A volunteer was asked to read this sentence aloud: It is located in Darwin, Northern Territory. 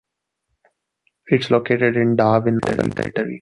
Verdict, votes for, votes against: rejected, 0, 3